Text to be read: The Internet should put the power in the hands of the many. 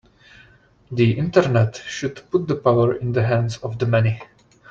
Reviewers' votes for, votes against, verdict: 2, 0, accepted